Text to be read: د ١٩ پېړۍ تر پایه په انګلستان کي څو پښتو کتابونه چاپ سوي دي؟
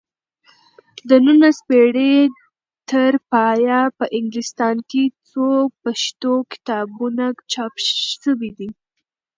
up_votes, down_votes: 0, 2